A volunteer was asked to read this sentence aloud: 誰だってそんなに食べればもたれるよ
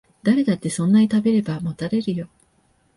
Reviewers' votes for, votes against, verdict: 9, 0, accepted